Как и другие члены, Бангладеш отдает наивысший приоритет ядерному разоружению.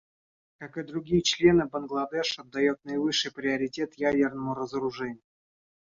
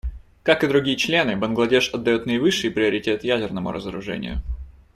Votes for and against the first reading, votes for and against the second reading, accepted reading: 1, 2, 2, 0, second